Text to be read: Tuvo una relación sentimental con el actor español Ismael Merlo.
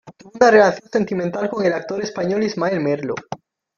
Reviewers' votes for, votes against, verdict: 0, 2, rejected